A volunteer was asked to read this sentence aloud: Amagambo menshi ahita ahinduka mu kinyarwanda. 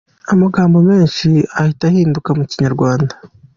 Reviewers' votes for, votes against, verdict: 2, 0, accepted